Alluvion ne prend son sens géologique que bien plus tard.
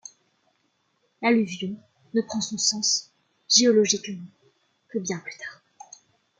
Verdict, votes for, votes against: accepted, 2, 0